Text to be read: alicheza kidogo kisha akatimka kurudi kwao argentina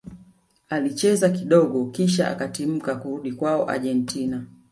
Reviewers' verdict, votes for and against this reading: rejected, 1, 2